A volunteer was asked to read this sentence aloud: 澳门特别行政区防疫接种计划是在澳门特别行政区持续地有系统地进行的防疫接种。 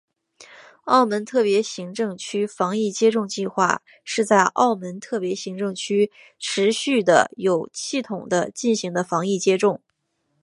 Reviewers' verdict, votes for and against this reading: accepted, 3, 0